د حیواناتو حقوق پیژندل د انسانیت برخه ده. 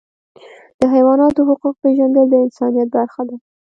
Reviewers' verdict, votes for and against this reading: rejected, 1, 2